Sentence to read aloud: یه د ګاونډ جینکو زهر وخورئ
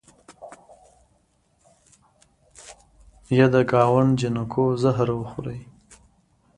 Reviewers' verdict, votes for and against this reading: accepted, 2, 1